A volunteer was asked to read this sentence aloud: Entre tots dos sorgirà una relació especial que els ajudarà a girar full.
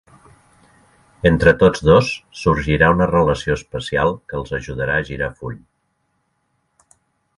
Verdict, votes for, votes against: accepted, 3, 0